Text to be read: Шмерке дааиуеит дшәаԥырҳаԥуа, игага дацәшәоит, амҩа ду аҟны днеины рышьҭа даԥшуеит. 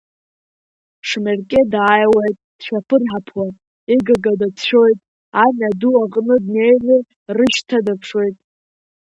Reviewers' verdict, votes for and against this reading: rejected, 1, 2